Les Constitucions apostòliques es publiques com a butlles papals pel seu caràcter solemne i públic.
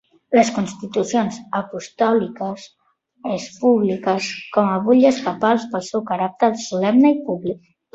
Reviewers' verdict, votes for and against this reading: accepted, 3, 0